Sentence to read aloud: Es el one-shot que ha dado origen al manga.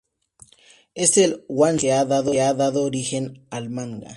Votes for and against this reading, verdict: 0, 2, rejected